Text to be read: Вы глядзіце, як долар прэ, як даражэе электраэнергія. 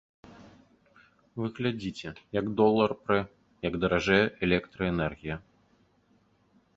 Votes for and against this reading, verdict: 2, 0, accepted